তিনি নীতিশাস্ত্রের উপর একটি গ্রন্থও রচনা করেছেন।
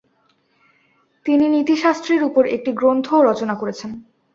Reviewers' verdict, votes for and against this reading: accepted, 2, 0